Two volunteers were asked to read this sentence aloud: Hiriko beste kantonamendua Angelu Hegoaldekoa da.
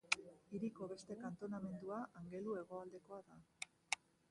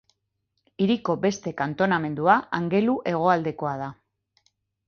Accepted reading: second